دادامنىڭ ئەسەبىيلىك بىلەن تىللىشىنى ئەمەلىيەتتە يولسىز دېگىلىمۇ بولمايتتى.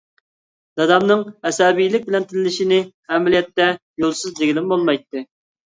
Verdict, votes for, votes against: accepted, 2, 0